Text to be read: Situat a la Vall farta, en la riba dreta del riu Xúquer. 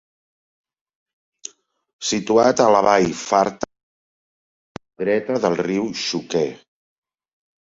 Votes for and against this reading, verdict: 0, 2, rejected